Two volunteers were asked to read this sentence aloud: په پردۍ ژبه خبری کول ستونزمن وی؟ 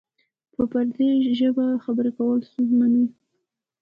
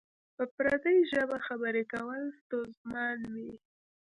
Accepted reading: second